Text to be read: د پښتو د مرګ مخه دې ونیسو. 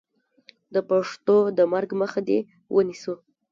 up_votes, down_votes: 0, 2